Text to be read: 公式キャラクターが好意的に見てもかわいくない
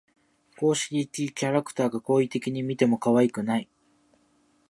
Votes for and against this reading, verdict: 2, 0, accepted